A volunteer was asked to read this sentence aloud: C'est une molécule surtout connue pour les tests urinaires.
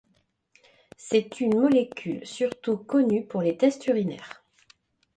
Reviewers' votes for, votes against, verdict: 2, 0, accepted